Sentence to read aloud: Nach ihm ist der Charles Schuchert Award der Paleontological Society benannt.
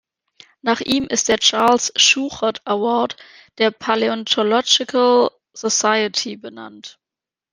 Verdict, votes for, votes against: accepted, 2, 0